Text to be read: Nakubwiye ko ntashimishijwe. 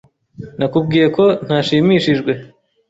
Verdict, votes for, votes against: accepted, 2, 0